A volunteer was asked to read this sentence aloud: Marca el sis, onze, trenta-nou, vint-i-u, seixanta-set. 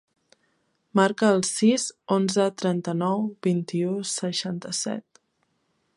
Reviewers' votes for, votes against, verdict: 4, 0, accepted